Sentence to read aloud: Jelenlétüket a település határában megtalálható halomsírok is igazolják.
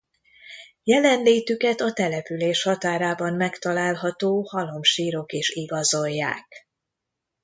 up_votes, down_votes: 2, 1